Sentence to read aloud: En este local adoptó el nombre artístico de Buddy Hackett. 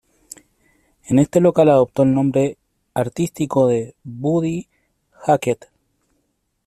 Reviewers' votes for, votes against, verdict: 2, 0, accepted